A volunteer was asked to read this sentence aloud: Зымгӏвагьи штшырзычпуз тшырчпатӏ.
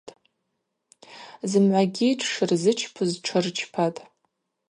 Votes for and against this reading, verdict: 2, 2, rejected